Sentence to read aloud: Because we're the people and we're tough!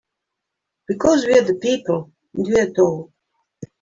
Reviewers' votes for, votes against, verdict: 1, 2, rejected